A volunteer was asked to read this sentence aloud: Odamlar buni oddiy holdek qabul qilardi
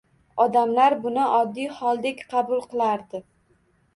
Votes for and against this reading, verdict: 2, 0, accepted